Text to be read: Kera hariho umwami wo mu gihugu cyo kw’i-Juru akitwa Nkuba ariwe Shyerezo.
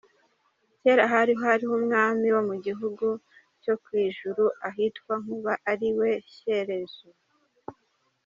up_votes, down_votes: 0, 2